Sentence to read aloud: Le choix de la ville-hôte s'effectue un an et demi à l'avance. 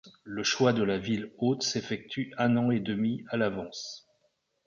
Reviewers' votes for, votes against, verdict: 2, 0, accepted